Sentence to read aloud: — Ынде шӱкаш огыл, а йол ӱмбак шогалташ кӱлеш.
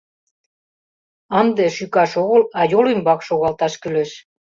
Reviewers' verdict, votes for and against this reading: accepted, 2, 0